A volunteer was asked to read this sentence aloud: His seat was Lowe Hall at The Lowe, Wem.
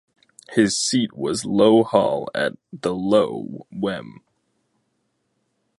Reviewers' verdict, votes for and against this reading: accepted, 2, 0